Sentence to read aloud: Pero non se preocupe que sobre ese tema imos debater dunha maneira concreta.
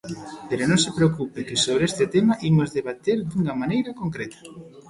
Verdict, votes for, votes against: rejected, 1, 2